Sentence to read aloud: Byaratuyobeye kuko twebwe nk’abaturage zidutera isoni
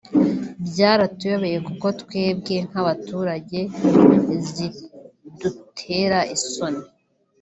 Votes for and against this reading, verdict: 0, 2, rejected